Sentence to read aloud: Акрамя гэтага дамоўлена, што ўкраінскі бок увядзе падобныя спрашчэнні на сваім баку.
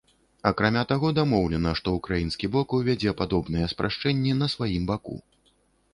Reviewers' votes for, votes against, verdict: 0, 2, rejected